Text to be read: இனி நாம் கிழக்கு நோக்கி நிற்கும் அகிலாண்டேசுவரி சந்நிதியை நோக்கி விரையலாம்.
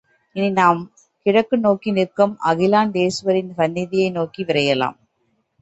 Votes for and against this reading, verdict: 4, 0, accepted